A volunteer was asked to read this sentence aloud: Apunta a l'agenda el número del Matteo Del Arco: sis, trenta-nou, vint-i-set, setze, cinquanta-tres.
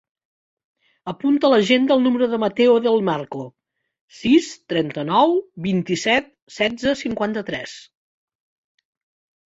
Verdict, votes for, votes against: rejected, 1, 2